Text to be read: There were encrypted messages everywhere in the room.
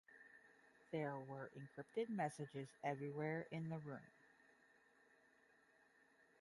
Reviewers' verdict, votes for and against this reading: rejected, 0, 5